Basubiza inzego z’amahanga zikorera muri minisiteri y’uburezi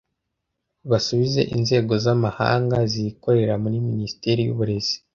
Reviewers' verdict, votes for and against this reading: rejected, 0, 2